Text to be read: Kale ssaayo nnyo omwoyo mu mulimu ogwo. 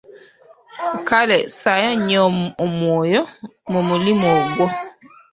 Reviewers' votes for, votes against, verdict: 1, 2, rejected